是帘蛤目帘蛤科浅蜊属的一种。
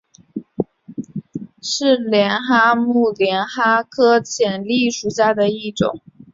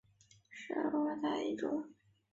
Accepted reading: first